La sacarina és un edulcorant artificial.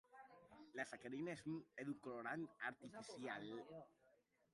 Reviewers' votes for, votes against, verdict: 0, 2, rejected